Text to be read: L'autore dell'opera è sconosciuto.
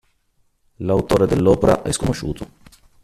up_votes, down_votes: 1, 2